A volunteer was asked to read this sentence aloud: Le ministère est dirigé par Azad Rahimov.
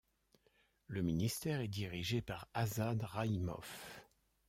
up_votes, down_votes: 0, 2